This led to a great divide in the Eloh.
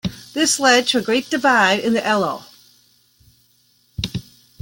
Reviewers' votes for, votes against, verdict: 2, 0, accepted